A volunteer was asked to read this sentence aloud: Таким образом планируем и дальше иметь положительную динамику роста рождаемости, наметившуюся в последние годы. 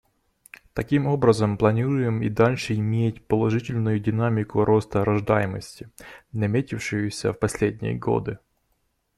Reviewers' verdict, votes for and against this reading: accepted, 2, 0